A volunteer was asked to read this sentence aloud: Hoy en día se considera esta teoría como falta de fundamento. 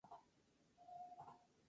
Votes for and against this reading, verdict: 0, 2, rejected